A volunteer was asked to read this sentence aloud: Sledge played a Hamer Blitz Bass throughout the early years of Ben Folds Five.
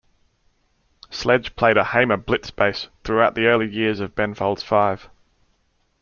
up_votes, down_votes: 2, 0